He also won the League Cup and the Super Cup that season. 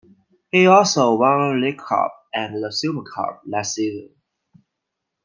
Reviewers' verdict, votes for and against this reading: accepted, 2, 1